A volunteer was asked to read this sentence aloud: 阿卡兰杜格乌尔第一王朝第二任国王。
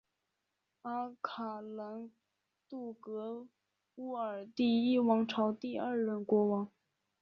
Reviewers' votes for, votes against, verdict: 0, 2, rejected